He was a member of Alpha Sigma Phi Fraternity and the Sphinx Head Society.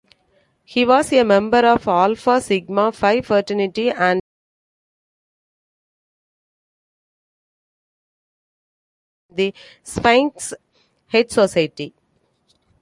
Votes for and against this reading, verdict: 0, 2, rejected